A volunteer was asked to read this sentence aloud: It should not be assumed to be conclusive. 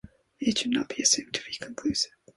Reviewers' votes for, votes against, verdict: 2, 0, accepted